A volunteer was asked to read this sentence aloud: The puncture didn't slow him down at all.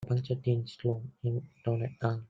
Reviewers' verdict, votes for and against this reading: rejected, 0, 2